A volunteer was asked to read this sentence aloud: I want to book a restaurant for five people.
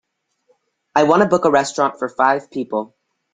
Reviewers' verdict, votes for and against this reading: accepted, 2, 0